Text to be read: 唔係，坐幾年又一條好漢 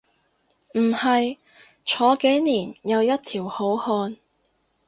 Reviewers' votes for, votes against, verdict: 2, 0, accepted